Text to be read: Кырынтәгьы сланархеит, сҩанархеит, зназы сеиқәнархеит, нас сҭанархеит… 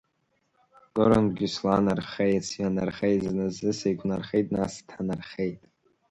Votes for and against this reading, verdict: 1, 3, rejected